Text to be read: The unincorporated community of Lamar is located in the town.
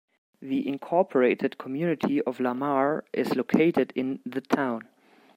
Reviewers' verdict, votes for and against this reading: rejected, 1, 2